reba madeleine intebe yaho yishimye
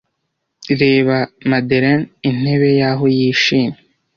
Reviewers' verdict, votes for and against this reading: rejected, 0, 2